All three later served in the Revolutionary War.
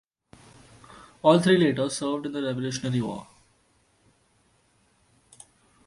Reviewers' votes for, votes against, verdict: 1, 2, rejected